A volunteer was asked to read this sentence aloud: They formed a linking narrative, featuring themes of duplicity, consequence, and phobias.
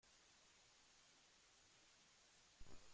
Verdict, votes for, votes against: rejected, 0, 2